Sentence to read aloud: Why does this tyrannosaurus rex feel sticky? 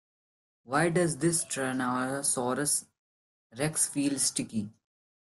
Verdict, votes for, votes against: rejected, 1, 2